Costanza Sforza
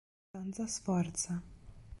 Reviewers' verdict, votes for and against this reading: rejected, 0, 2